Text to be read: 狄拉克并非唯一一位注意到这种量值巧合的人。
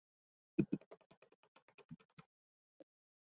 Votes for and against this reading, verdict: 0, 6, rejected